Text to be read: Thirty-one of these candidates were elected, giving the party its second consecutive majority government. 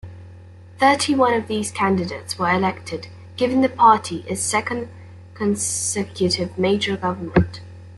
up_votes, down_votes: 0, 2